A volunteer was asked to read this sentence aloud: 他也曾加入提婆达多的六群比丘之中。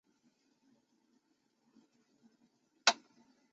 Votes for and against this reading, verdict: 0, 3, rejected